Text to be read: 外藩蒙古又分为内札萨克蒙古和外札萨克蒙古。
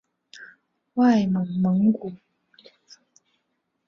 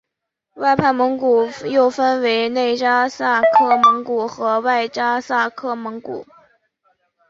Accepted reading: second